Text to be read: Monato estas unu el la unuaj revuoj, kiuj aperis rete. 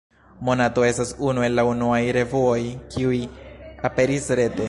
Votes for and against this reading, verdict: 0, 2, rejected